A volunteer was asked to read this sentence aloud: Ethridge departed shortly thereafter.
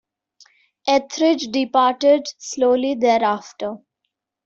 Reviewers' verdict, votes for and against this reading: rejected, 0, 2